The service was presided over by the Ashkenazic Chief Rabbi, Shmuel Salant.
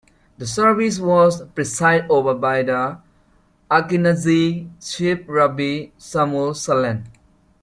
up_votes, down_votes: 1, 2